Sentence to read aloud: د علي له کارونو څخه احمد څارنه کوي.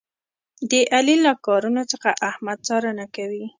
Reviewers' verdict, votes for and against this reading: accepted, 2, 0